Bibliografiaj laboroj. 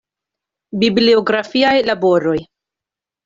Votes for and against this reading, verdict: 2, 0, accepted